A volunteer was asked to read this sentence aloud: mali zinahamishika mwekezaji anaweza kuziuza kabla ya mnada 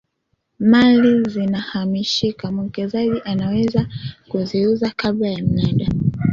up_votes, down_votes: 2, 1